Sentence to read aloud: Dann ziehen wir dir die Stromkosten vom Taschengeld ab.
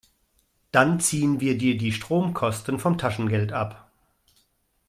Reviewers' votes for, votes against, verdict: 2, 0, accepted